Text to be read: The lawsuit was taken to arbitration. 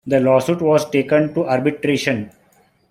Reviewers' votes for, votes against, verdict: 1, 2, rejected